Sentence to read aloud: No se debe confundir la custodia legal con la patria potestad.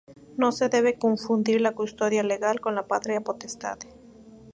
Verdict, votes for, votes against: accepted, 4, 0